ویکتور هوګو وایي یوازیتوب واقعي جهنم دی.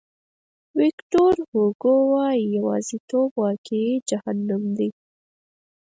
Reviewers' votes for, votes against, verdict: 0, 4, rejected